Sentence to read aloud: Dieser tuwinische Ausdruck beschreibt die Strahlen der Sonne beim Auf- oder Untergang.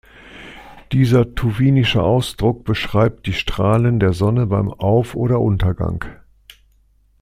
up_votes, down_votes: 2, 0